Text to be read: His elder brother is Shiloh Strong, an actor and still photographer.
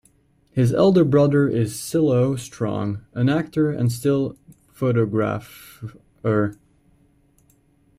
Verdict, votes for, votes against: rejected, 0, 3